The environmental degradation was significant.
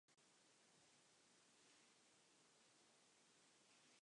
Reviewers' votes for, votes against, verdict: 0, 2, rejected